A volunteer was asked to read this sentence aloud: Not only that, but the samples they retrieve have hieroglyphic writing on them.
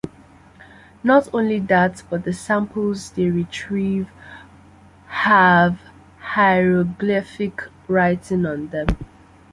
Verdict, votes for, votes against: accepted, 2, 1